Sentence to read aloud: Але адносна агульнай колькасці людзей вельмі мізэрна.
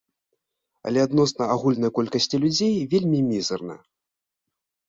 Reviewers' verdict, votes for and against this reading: accepted, 2, 0